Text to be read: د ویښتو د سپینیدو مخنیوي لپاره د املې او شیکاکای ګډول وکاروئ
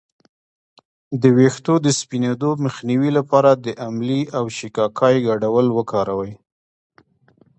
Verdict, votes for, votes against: rejected, 1, 2